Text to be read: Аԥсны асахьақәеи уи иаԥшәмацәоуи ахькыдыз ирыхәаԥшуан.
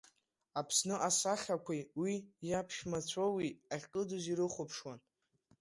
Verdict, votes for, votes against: accepted, 2, 1